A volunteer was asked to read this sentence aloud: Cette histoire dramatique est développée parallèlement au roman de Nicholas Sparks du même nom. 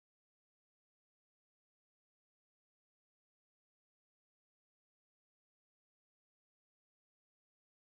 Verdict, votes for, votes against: rejected, 0, 2